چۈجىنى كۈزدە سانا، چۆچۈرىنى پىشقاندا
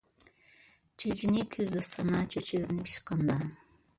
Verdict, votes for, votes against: rejected, 0, 2